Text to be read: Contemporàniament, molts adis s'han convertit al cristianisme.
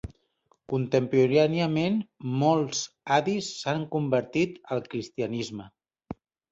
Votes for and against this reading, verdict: 1, 2, rejected